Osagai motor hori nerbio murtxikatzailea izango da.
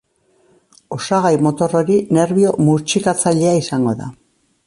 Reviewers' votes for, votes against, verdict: 2, 0, accepted